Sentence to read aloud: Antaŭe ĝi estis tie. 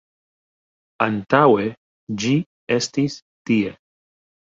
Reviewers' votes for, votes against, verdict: 1, 2, rejected